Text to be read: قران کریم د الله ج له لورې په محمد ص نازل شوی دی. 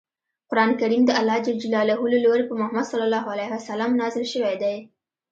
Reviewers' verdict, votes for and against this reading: accepted, 2, 0